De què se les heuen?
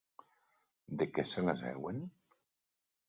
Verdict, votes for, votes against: accepted, 3, 0